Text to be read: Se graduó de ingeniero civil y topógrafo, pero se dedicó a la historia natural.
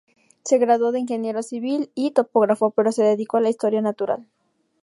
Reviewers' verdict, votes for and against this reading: accepted, 2, 0